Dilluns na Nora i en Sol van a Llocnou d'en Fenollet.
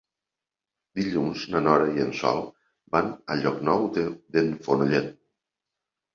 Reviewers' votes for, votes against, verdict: 0, 2, rejected